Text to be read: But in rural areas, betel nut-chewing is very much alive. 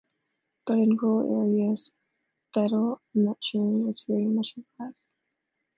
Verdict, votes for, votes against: rejected, 1, 2